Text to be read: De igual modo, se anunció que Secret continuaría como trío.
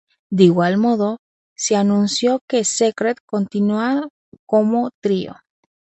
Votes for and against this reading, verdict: 0, 2, rejected